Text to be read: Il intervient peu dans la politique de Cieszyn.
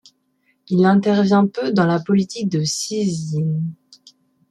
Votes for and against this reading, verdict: 1, 2, rejected